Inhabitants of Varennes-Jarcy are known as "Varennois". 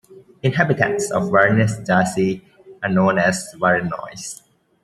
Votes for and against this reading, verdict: 2, 0, accepted